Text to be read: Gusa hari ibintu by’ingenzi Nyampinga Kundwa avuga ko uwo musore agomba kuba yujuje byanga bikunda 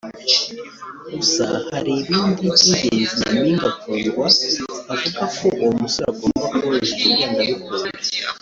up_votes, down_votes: 0, 3